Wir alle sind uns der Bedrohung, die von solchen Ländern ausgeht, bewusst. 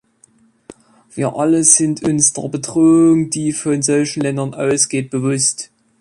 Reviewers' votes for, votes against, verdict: 2, 0, accepted